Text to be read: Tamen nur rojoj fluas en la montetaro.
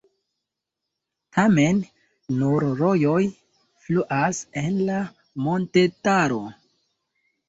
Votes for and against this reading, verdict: 0, 2, rejected